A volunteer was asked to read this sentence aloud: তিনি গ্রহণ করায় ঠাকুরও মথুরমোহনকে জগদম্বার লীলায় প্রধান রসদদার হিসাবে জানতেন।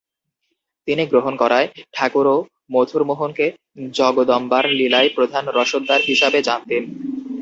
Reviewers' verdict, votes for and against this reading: accepted, 2, 0